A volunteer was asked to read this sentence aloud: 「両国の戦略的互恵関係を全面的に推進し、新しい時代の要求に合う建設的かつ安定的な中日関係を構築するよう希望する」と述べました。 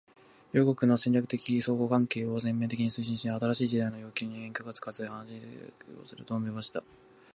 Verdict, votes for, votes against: rejected, 2, 2